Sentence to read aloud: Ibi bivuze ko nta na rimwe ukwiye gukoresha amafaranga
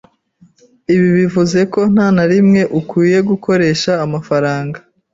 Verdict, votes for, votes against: accepted, 2, 0